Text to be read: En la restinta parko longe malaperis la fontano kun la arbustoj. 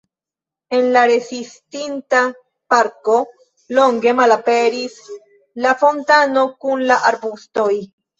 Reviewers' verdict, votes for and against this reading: rejected, 0, 2